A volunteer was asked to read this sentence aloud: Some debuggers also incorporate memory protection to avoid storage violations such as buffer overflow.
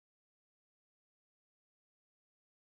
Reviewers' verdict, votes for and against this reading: rejected, 0, 2